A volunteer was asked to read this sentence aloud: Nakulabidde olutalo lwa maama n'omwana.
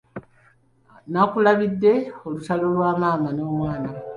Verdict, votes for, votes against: accepted, 2, 0